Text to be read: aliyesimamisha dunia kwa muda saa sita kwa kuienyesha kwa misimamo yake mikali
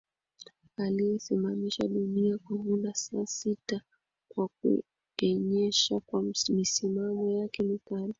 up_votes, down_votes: 2, 1